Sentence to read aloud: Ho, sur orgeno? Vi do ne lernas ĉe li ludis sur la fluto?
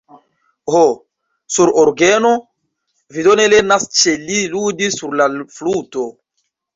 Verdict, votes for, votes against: rejected, 0, 2